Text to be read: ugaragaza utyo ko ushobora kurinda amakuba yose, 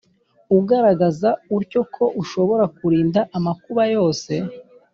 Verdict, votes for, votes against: accepted, 2, 0